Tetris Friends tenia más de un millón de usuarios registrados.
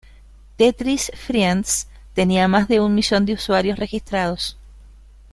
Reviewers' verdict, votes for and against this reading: accepted, 2, 0